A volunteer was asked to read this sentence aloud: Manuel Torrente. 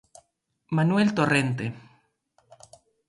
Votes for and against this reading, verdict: 2, 0, accepted